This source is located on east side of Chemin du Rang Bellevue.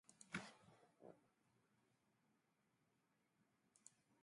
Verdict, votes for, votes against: rejected, 0, 2